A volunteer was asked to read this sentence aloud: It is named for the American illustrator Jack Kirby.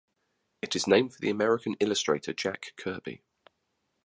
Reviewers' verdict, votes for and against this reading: accepted, 2, 0